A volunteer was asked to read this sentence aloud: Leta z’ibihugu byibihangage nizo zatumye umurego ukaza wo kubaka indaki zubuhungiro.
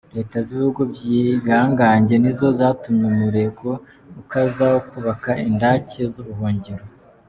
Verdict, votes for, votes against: accepted, 2, 0